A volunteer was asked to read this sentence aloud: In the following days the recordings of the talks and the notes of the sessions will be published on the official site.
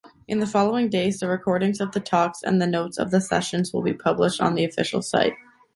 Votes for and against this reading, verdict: 2, 0, accepted